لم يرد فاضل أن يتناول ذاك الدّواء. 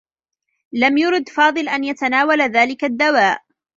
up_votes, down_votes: 0, 2